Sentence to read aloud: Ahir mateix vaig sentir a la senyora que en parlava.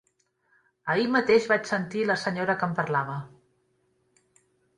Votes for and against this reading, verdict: 0, 2, rejected